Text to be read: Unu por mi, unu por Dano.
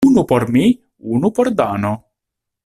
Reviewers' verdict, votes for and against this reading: accepted, 2, 0